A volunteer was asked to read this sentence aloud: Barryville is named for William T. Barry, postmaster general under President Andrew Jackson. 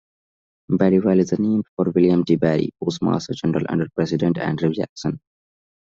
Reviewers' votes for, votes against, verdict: 1, 2, rejected